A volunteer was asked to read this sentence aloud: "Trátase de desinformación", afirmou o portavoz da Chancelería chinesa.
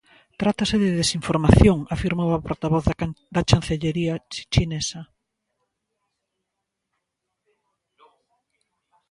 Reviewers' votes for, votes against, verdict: 0, 2, rejected